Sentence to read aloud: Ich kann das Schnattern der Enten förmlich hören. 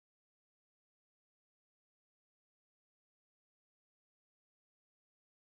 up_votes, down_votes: 0, 4